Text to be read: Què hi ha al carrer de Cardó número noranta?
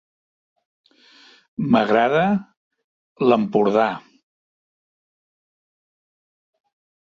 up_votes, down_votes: 0, 2